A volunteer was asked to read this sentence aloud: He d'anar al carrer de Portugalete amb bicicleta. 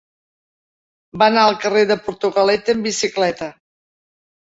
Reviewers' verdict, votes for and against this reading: rejected, 0, 2